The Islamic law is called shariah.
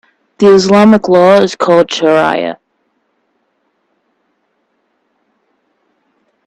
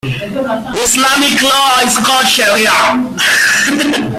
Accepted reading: first